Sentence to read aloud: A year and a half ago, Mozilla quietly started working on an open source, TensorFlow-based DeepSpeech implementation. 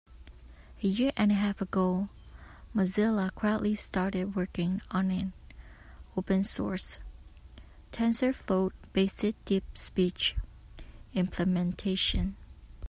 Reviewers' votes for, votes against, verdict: 2, 0, accepted